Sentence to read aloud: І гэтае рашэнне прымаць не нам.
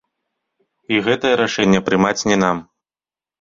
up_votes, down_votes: 2, 0